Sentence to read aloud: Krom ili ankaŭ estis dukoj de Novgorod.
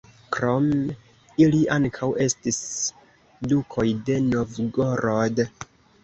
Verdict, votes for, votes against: rejected, 2, 3